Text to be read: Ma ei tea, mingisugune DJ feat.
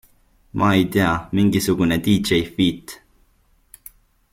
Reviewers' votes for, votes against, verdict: 2, 0, accepted